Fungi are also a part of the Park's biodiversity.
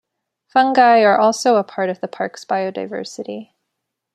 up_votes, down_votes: 2, 0